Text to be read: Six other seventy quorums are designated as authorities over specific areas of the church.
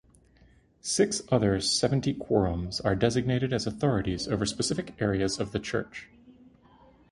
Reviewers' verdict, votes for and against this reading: accepted, 2, 0